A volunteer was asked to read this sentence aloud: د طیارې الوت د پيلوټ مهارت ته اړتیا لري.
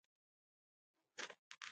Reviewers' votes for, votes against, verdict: 0, 2, rejected